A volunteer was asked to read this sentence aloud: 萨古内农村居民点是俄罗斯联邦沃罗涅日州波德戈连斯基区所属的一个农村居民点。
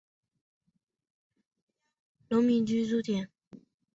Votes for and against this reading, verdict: 0, 5, rejected